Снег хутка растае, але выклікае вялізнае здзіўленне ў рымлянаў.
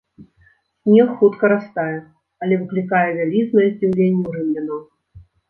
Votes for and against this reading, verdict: 0, 2, rejected